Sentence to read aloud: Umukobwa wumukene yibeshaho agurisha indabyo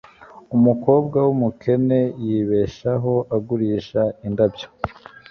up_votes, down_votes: 2, 0